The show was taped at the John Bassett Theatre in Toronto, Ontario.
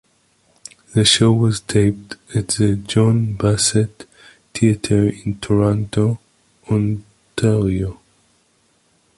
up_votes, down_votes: 2, 0